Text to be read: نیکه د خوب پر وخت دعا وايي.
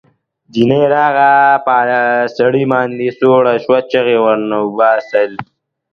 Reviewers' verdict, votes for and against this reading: rejected, 0, 2